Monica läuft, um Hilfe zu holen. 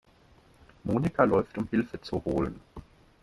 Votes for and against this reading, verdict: 2, 0, accepted